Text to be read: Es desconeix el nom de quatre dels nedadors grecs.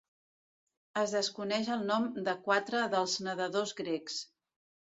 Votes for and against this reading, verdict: 2, 0, accepted